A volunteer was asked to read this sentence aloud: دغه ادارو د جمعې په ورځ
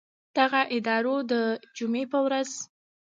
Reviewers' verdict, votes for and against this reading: accepted, 2, 0